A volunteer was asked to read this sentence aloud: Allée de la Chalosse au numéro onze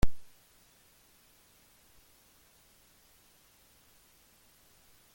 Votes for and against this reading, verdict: 0, 2, rejected